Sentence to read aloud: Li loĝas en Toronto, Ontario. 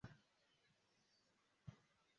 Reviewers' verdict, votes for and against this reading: rejected, 0, 2